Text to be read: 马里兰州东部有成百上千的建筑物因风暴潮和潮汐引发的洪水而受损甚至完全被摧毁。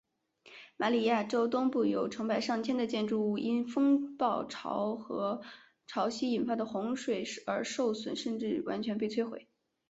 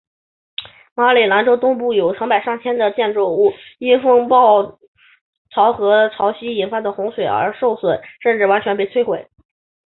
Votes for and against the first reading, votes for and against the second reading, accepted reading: 1, 3, 3, 1, second